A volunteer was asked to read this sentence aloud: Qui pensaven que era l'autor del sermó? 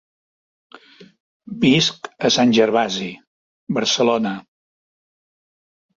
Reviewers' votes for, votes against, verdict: 0, 2, rejected